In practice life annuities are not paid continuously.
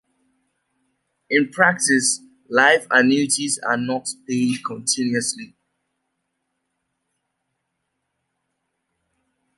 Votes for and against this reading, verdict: 2, 0, accepted